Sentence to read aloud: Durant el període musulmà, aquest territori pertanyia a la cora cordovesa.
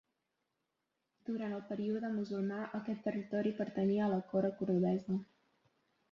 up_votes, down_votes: 5, 1